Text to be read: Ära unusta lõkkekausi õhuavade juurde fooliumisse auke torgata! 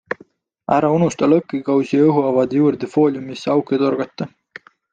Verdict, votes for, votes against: accepted, 2, 0